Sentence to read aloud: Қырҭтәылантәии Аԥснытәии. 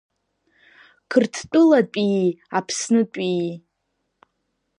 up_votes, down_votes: 0, 2